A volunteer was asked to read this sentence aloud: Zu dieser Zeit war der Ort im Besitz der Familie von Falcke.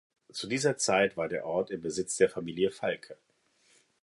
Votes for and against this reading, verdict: 0, 2, rejected